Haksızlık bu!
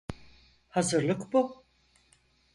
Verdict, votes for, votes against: rejected, 0, 4